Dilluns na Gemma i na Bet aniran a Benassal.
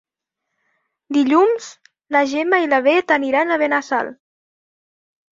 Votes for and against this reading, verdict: 2, 0, accepted